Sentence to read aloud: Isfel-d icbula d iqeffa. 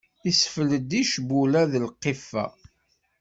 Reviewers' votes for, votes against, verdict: 1, 2, rejected